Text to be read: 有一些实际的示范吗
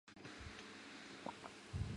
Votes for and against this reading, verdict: 0, 2, rejected